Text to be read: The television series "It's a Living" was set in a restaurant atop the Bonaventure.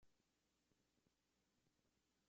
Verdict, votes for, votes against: rejected, 0, 2